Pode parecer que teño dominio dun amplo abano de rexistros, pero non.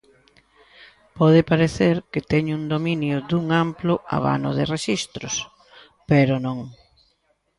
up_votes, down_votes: 1, 2